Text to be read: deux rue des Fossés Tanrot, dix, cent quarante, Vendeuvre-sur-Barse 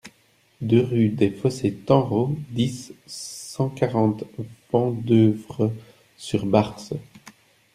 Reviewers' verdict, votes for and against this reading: accepted, 2, 0